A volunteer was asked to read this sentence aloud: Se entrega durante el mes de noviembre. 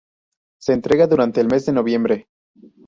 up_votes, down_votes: 2, 0